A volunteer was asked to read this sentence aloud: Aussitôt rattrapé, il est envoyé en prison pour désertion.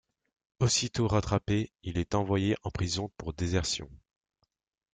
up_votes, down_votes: 2, 0